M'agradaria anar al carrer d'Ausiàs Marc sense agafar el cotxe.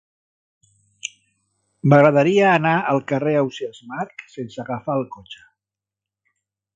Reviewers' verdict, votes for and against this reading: rejected, 0, 2